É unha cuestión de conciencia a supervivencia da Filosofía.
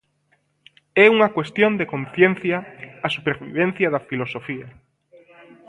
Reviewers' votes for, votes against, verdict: 2, 0, accepted